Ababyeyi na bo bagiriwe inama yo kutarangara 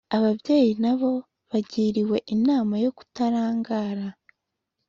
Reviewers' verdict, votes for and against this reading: accepted, 2, 0